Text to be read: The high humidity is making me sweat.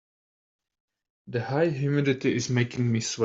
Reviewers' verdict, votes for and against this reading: rejected, 0, 2